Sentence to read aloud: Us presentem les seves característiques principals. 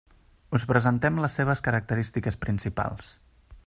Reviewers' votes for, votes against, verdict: 3, 0, accepted